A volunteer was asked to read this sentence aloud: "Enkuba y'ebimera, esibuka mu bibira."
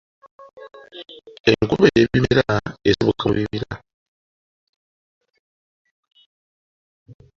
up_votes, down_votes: 2, 1